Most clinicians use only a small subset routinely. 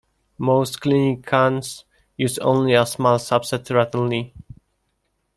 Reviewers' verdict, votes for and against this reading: rejected, 0, 2